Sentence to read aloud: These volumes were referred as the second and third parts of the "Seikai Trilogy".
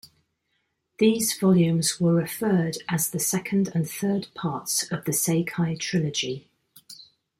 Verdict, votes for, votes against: accepted, 2, 0